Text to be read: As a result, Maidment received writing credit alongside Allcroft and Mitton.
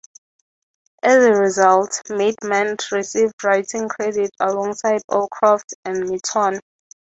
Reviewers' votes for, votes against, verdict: 3, 0, accepted